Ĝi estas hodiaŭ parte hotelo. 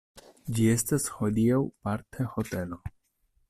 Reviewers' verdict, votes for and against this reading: accepted, 2, 0